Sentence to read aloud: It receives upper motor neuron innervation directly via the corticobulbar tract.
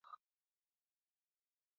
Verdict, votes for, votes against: rejected, 0, 5